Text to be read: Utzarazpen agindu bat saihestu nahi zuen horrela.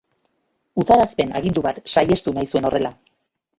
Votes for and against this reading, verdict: 1, 2, rejected